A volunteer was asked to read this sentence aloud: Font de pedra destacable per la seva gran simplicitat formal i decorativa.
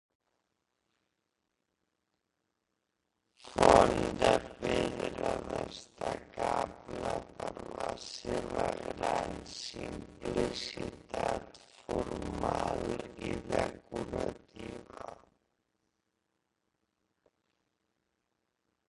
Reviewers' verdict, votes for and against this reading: rejected, 0, 2